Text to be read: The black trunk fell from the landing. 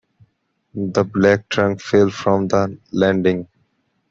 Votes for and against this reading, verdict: 2, 0, accepted